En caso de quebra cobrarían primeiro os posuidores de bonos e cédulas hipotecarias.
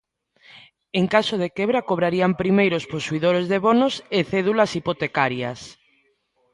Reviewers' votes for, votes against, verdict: 2, 0, accepted